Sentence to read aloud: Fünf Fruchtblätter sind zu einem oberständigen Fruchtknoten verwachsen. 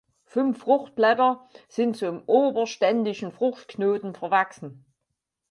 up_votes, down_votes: 2, 6